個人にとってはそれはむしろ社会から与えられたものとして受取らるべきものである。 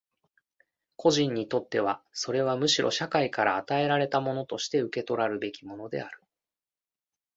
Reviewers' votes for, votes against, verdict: 2, 0, accepted